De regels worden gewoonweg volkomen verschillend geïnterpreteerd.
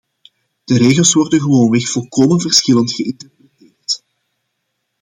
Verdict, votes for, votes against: rejected, 0, 2